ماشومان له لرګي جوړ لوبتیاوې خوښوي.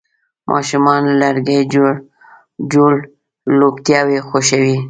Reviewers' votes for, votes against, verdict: 1, 2, rejected